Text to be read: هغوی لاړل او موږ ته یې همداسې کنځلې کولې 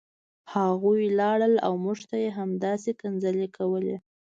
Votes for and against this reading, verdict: 2, 0, accepted